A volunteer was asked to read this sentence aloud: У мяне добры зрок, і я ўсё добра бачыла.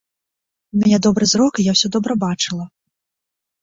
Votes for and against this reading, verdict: 1, 2, rejected